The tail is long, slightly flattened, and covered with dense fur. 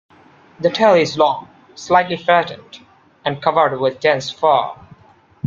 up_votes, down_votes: 2, 1